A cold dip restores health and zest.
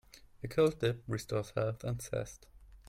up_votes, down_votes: 2, 1